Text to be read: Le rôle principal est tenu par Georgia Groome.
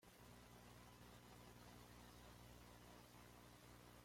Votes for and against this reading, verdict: 0, 2, rejected